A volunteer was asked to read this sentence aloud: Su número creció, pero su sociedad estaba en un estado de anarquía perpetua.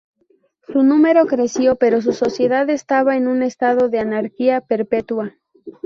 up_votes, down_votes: 2, 0